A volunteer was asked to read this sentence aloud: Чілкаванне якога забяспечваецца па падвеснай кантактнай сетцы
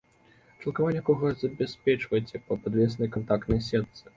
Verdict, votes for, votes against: rejected, 1, 2